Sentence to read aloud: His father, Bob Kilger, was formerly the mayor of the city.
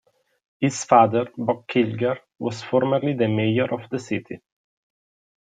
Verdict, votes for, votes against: accepted, 2, 0